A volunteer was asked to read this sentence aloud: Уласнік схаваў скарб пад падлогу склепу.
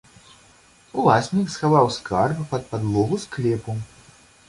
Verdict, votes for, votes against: accepted, 2, 0